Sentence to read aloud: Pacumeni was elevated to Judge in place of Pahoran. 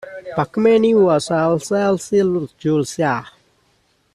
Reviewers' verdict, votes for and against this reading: rejected, 0, 2